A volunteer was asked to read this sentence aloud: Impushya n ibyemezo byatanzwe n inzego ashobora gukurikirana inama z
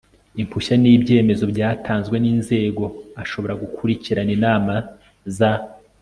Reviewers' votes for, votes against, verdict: 2, 0, accepted